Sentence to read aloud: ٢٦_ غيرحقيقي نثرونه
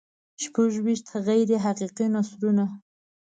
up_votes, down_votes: 0, 2